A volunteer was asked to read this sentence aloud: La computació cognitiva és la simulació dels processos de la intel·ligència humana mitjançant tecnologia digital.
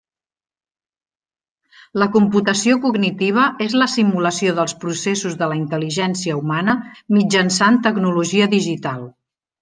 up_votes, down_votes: 3, 0